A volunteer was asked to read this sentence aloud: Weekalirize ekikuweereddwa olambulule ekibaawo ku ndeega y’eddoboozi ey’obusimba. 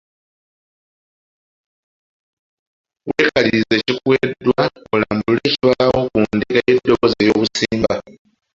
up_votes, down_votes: 0, 2